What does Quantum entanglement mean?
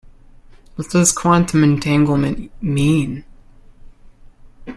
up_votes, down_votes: 2, 0